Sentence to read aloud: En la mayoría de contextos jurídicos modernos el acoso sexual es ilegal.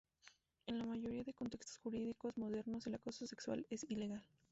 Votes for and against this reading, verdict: 0, 2, rejected